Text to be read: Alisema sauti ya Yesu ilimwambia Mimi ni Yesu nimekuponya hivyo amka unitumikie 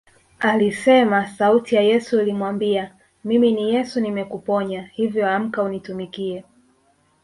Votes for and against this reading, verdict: 1, 2, rejected